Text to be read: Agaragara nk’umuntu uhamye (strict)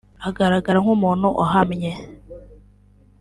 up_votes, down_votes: 1, 2